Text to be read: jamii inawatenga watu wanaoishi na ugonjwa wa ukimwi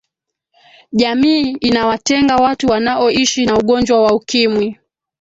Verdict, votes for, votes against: rejected, 1, 2